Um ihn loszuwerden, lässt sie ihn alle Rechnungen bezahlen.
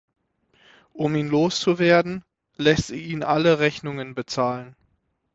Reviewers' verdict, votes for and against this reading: accepted, 9, 0